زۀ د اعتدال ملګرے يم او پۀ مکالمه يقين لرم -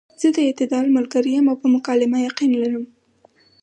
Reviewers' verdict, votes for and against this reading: accepted, 4, 0